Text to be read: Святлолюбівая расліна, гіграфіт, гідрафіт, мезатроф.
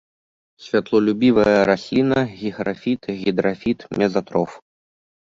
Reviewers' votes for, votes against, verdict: 1, 2, rejected